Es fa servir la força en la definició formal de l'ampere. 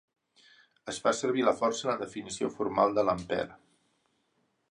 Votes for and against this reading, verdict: 4, 0, accepted